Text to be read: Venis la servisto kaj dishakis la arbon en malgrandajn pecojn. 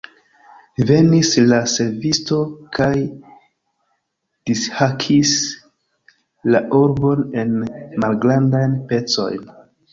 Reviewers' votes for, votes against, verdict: 0, 2, rejected